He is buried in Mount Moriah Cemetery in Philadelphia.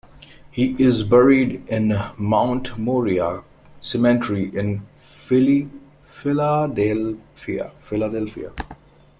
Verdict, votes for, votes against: rejected, 0, 2